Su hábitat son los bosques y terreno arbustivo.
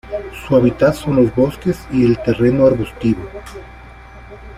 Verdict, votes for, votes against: rejected, 0, 2